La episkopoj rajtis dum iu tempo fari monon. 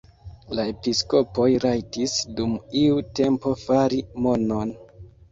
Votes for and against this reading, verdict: 1, 2, rejected